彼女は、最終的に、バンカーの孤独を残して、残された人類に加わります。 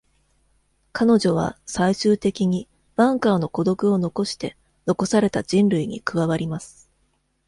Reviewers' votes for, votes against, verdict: 2, 0, accepted